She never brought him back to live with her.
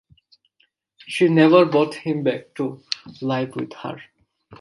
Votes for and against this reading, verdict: 0, 2, rejected